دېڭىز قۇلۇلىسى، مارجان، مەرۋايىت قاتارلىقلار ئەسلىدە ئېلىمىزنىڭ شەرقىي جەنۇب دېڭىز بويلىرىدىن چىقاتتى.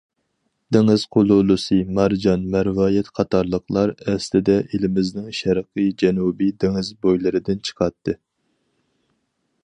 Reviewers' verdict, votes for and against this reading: rejected, 0, 4